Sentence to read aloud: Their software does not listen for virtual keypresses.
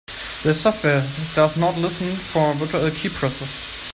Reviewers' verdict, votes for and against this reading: rejected, 1, 2